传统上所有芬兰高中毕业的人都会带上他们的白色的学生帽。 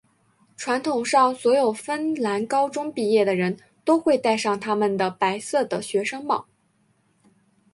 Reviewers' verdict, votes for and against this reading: accepted, 2, 1